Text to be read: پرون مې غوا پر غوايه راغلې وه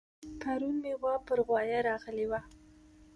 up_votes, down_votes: 2, 0